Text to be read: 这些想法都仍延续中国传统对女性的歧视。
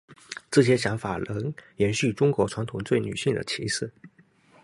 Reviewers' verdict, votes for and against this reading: rejected, 0, 2